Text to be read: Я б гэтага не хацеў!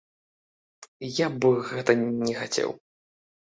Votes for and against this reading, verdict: 1, 3, rejected